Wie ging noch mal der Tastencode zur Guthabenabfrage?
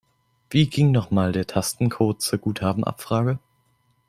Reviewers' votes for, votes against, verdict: 2, 0, accepted